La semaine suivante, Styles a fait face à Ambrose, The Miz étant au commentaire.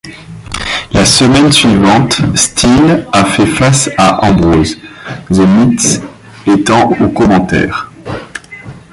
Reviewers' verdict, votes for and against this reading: rejected, 0, 2